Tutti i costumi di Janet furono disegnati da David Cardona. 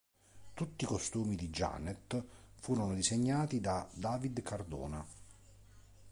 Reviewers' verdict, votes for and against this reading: accepted, 2, 0